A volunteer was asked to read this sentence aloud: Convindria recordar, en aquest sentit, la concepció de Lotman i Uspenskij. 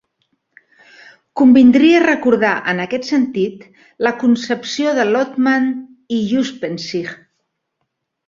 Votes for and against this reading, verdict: 2, 0, accepted